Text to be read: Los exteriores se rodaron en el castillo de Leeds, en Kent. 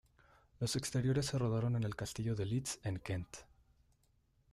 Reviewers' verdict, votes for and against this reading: accepted, 2, 0